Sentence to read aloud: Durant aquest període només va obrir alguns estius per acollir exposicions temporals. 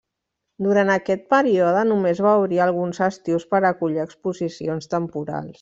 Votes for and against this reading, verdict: 2, 1, accepted